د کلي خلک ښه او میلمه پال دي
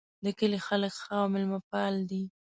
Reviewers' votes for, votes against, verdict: 3, 0, accepted